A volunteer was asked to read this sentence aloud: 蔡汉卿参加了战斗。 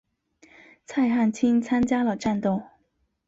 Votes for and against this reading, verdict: 2, 0, accepted